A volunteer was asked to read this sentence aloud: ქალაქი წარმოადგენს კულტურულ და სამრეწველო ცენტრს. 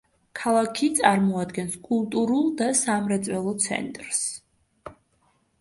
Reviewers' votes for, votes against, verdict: 2, 0, accepted